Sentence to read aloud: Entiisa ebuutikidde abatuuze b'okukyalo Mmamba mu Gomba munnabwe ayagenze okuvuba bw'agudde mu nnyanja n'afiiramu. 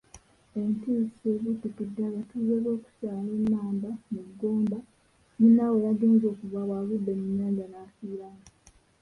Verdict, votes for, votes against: rejected, 0, 2